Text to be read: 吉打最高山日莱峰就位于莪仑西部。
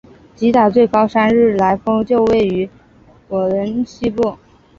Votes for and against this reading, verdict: 1, 2, rejected